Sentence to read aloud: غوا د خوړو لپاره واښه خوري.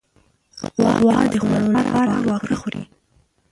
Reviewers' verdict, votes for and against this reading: rejected, 0, 6